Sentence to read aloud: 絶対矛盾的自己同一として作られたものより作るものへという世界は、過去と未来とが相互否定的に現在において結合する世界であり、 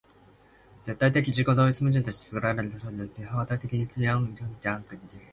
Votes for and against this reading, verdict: 0, 2, rejected